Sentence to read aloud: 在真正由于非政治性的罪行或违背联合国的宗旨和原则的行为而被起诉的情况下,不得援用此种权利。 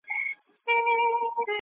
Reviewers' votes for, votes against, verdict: 0, 2, rejected